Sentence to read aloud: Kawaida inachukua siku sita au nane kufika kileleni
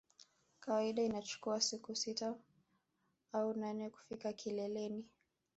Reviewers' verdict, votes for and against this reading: accepted, 2, 0